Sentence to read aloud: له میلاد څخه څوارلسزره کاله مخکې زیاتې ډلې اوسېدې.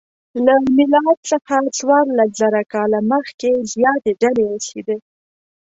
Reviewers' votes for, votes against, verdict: 0, 2, rejected